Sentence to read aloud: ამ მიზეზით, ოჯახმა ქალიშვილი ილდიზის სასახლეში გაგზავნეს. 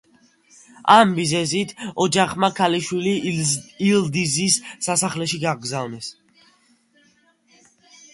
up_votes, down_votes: 3, 2